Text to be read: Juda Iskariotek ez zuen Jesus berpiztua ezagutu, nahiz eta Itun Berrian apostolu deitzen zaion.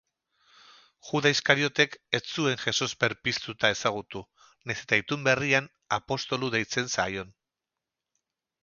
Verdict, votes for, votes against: rejected, 2, 2